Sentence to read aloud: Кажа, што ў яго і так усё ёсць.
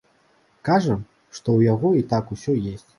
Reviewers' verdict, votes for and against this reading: accepted, 2, 1